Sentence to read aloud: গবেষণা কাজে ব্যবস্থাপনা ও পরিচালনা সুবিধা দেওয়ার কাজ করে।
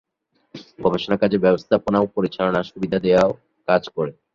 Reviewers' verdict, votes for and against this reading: accepted, 7, 5